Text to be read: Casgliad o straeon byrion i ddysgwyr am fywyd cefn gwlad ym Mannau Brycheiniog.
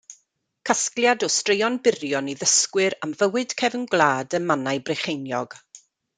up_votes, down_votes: 2, 0